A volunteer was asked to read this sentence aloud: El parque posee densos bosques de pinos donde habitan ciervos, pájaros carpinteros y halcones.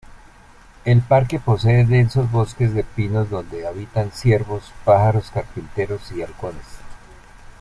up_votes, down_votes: 0, 2